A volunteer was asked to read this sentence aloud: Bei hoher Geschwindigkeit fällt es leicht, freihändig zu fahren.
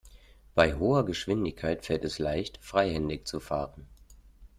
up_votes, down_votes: 2, 0